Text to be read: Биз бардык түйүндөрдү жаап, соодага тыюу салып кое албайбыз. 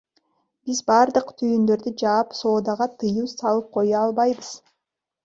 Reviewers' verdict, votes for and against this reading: rejected, 0, 2